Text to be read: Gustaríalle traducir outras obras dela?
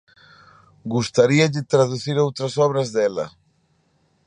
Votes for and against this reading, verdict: 3, 0, accepted